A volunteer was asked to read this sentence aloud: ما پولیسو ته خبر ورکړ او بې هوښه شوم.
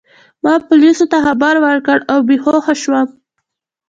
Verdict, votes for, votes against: accepted, 2, 0